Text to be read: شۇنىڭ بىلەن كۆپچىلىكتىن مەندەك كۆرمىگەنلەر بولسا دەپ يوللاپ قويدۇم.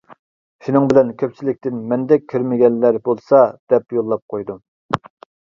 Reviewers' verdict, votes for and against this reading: accepted, 2, 0